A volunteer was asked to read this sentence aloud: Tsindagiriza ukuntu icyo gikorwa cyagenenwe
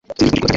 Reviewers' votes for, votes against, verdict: 0, 3, rejected